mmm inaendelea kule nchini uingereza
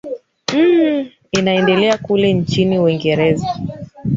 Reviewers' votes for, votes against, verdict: 1, 3, rejected